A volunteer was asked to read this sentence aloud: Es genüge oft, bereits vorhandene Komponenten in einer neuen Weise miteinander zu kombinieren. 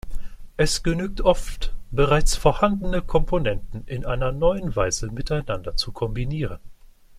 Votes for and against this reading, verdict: 2, 1, accepted